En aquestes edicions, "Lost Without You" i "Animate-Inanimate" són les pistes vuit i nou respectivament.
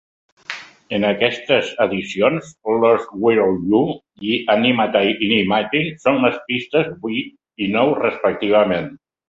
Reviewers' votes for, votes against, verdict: 2, 1, accepted